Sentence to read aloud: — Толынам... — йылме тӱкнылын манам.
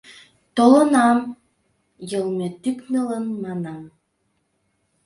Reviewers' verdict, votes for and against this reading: accepted, 2, 0